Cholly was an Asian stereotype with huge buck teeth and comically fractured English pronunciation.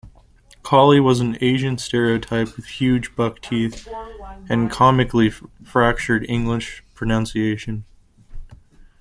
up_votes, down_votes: 0, 2